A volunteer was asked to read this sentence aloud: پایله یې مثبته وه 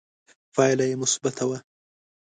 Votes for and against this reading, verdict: 2, 0, accepted